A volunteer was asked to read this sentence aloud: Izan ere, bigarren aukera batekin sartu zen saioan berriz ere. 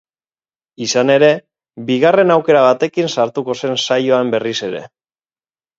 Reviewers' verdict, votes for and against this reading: rejected, 0, 4